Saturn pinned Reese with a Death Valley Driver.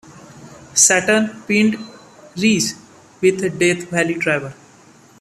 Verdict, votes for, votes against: accepted, 2, 0